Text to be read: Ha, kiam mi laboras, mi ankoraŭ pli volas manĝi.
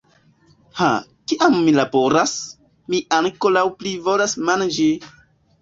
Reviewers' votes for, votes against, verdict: 1, 2, rejected